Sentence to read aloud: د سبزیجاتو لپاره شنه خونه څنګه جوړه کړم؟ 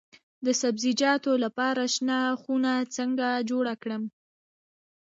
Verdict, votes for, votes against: rejected, 1, 2